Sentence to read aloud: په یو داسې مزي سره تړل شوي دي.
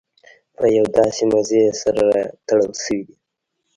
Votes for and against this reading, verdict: 1, 2, rejected